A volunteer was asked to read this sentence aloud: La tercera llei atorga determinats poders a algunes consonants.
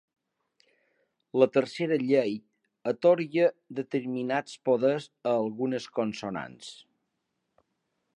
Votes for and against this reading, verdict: 3, 0, accepted